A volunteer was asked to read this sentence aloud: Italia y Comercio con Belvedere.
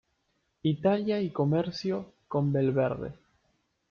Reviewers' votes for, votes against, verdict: 1, 2, rejected